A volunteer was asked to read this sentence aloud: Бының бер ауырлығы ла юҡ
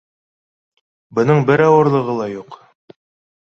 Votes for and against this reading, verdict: 2, 0, accepted